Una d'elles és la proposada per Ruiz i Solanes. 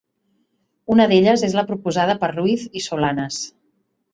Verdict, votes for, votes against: accepted, 3, 0